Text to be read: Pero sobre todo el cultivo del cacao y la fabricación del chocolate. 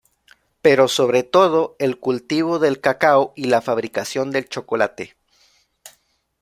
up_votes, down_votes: 2, 1